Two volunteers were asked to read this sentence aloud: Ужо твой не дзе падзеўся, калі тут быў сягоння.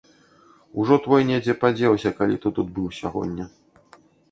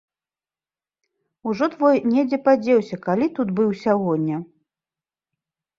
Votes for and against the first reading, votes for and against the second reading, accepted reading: 1, 2, 2, 0, second